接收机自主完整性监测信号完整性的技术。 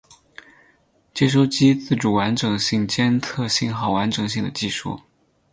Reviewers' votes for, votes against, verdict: 8, 0, accepted